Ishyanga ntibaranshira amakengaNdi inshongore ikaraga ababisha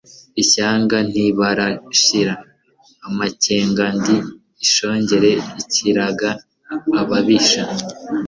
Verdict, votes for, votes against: rejected, 0, 2